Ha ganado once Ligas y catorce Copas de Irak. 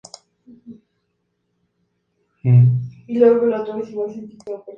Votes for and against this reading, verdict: 0, 2, rejected